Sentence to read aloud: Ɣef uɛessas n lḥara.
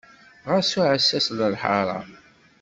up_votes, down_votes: 1, 2